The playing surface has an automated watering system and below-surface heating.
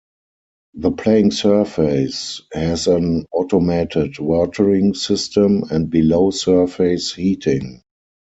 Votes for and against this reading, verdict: 4, 0, accepted